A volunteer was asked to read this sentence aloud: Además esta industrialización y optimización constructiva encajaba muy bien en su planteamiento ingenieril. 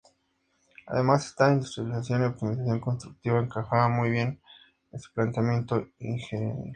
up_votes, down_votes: 2, 0